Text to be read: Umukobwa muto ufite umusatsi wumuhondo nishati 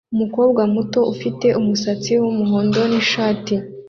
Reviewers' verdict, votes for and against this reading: accepted, 2, 0